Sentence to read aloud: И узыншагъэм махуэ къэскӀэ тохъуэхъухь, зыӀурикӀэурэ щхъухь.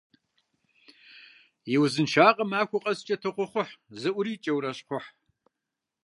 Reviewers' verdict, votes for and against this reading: accepted, 2, 0